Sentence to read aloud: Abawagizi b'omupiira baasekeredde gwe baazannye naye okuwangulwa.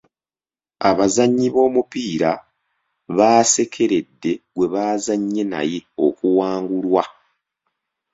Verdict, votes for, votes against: rejected, 1, 2